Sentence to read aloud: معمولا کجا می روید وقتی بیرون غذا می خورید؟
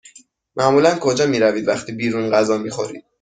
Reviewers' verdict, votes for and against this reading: accepted, 2, 0